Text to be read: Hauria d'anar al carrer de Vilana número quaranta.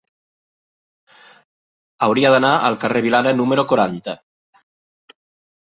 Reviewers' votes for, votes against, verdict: 1, 2, rejected